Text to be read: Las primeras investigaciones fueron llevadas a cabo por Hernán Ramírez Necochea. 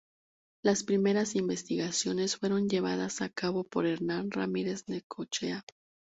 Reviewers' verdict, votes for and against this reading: accepted, 2, 0